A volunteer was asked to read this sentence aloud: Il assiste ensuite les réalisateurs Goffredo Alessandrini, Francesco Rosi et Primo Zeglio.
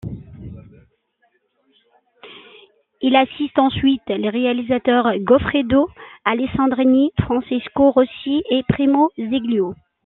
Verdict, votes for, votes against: accepted, 2, 0